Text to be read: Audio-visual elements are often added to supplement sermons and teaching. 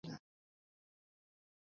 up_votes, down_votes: 0, 2